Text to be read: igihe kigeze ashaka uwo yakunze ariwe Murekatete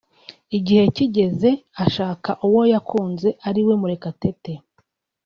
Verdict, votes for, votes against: accepted, 2, 0